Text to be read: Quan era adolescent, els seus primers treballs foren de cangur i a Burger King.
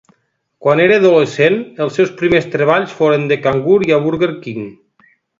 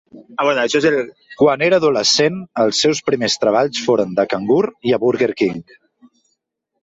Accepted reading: first